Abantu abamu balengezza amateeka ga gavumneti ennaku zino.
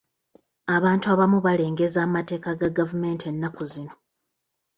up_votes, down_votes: 1, 2